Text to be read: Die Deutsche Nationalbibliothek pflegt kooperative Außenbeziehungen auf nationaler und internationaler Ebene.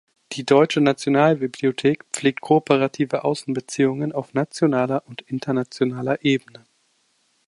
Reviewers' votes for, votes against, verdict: 2, 0, accepted